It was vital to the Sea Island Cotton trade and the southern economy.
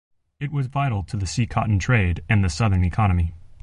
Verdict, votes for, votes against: rejected, 1, 2